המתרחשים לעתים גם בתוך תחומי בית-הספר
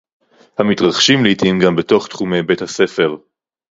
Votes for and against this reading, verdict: 4, 0, accepted